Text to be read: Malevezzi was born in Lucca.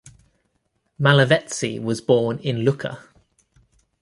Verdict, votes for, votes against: accepted, 2, 0